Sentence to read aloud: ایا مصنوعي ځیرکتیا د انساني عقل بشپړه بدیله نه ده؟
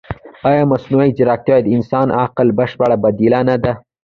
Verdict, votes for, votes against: accepted, 2, 1